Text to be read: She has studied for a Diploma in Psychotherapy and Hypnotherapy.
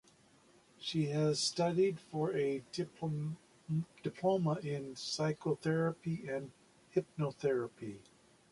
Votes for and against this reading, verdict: 0, 2, rejected